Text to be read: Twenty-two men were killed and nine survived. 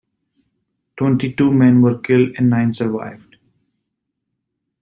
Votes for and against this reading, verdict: 2, 0, accepted